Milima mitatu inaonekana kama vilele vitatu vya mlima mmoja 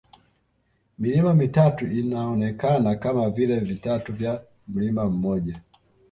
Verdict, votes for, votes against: rejected, 1, 2